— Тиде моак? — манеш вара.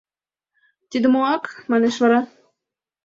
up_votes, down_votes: 3, 0